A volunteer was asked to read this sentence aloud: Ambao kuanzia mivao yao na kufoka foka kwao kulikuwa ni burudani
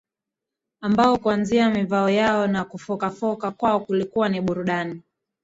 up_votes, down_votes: 1, 2